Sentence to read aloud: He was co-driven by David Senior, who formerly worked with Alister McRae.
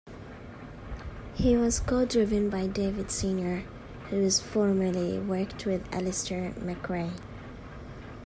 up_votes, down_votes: 1, 2